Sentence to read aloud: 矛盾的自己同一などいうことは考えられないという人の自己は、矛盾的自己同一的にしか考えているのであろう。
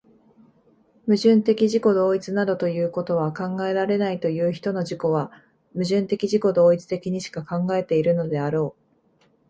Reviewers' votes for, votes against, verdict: 2, 1, accepted